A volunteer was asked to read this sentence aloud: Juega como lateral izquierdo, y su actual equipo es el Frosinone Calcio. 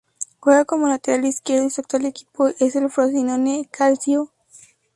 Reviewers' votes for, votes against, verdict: 2, 0, accepted